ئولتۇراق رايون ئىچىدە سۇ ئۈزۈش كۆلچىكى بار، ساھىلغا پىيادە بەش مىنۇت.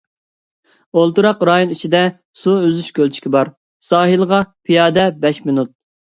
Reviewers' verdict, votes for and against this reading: accepted, 2, 0